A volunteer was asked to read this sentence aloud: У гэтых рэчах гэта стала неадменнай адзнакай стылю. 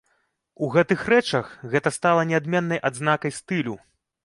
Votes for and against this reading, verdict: 2, 0, accepted